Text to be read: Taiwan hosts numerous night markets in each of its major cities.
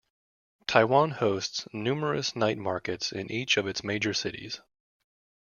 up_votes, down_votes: 3, 2